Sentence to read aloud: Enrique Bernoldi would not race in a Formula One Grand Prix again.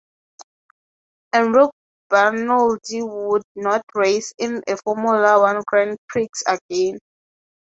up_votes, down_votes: 0, 3